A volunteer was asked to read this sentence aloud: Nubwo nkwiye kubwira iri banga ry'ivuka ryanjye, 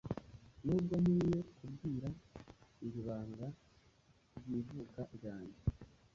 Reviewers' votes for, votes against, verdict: 0, 2, rejected